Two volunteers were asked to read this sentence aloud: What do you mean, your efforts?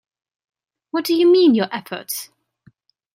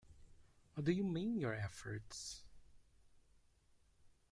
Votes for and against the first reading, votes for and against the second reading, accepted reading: 2, 0, 1, 2, first